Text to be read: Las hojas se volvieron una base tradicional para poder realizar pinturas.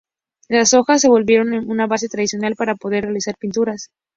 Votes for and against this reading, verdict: 0, 2, rejected